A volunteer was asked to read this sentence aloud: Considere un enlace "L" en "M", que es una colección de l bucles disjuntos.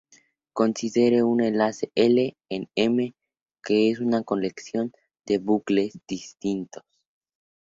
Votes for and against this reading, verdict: 2, 0, accepted